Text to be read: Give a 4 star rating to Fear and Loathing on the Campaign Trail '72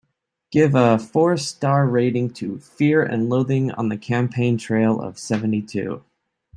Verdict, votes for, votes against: rejected, 0, 2